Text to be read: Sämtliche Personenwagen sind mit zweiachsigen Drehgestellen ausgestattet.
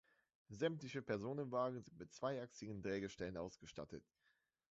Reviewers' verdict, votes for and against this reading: rejected, 1, 2